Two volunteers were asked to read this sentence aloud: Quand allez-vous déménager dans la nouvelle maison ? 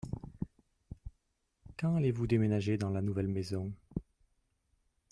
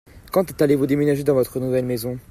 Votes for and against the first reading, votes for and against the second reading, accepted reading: 2, 0, 0, 2, first